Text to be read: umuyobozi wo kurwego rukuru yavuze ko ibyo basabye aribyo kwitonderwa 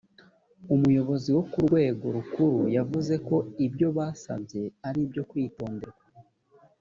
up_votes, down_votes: 2, 0